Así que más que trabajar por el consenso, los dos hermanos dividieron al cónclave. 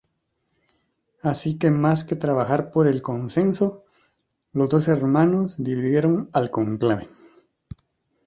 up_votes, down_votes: 0, 2